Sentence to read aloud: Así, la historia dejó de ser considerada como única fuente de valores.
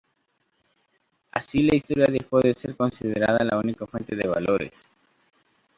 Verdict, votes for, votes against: rejected, 1, 2